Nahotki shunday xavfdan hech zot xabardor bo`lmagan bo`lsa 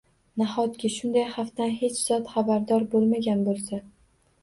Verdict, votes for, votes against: accepted, 2, 0